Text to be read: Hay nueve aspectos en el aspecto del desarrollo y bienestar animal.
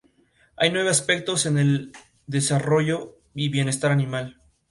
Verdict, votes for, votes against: accepted, 2, 0